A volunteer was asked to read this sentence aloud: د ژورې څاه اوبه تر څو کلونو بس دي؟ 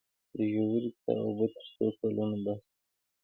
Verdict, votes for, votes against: accepted, 2, 1